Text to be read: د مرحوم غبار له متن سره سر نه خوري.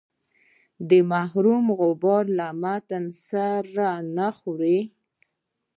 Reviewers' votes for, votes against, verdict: 0, 2, rejected